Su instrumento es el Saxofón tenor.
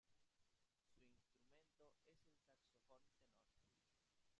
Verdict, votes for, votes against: rejected, 1, 2